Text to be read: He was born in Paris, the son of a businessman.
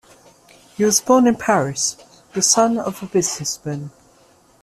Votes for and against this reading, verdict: 2, 0, accepted